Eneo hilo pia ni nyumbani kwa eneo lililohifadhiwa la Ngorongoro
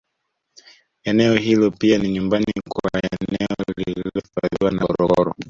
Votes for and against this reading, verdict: 1, 2, rejected